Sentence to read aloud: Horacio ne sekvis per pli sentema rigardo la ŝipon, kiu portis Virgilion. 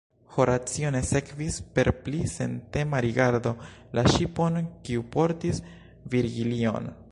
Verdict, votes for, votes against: accepted, 2, 0